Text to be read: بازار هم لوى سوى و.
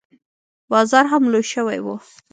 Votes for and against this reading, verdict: 2, 0, accepted